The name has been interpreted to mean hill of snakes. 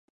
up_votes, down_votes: 0, 2